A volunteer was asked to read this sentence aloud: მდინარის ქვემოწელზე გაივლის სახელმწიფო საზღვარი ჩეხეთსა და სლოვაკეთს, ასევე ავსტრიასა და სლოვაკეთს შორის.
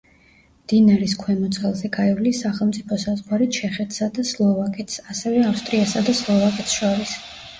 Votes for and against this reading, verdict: 2, 0, accepted